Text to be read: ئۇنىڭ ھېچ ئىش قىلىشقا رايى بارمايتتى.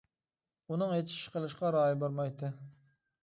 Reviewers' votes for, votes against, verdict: 2, 1, accepted